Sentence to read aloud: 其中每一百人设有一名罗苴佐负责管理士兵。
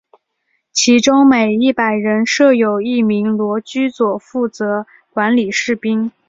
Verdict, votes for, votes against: accepted, 2, 0